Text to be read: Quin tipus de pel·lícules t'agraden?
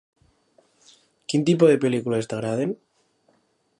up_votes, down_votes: 2, 1